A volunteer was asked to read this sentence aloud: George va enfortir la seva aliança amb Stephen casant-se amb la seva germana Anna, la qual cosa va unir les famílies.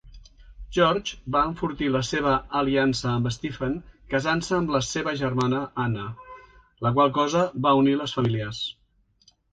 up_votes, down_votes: 2, 0